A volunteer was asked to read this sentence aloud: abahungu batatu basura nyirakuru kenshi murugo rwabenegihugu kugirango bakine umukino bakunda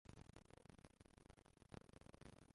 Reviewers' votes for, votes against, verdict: 0, 2, rejected